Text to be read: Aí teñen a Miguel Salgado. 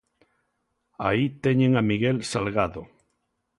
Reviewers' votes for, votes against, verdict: 2, 0, accepted